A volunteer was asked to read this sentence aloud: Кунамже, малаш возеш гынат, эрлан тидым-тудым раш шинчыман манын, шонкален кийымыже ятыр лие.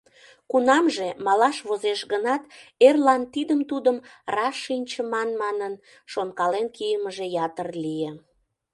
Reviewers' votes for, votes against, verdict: 2, 0, accepted